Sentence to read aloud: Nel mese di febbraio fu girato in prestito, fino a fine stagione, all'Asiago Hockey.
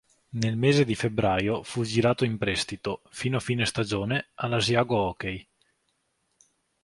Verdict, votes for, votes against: rejected, 1, 2